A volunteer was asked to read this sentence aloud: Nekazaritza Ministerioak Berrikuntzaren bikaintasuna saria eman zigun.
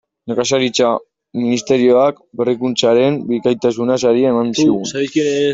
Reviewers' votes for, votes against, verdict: 0, 2, rejected